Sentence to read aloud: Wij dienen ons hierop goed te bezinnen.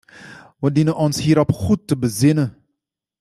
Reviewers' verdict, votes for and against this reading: rejected, 1, 2